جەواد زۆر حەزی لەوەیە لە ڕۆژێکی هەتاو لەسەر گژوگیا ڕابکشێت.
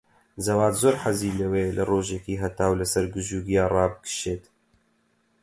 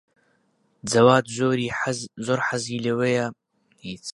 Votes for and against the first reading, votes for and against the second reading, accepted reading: 4, 0, 0, 2, first